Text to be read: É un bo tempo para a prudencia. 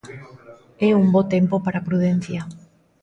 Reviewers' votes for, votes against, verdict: 2, 0, accepted